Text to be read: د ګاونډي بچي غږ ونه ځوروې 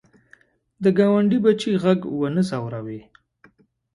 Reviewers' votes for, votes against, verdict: 2, 0, accepted